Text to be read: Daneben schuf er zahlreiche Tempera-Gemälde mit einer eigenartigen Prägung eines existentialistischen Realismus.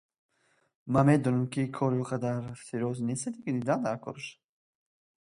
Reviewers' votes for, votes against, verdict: 0, 2, rejected